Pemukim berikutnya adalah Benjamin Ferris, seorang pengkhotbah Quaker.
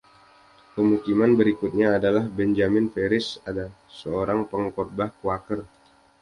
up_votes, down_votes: 0, 2